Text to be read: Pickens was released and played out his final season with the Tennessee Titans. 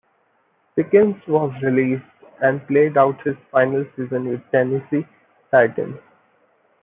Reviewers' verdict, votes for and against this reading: rejected, 0, 2